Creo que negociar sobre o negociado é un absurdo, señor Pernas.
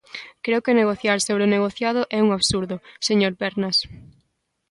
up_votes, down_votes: 3, 0